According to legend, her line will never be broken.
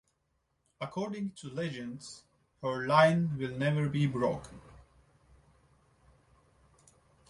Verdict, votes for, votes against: accepted, 2, 1